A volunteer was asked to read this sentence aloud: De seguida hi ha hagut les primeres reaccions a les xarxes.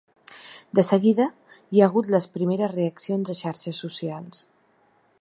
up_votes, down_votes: 0, 2